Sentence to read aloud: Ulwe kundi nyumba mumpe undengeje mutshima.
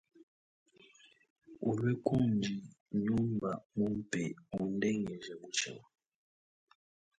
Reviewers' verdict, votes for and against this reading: accepted, 4, 1